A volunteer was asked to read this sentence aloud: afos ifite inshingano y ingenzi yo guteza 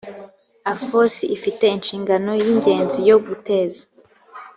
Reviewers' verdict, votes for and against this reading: accepted, 3, 0